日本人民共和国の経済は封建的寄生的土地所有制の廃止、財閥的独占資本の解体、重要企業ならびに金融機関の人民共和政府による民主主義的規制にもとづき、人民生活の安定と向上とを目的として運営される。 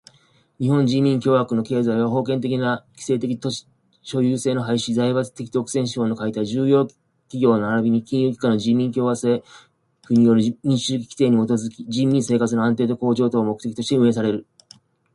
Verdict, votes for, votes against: accepted, 2, 1